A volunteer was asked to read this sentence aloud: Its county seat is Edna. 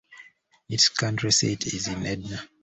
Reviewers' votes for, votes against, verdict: 0, 2, rejected